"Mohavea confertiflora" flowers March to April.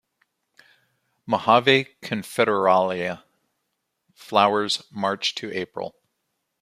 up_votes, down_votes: 0, 2